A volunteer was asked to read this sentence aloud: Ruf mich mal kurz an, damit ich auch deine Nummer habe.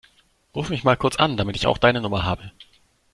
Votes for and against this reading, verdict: 2, 0, accepted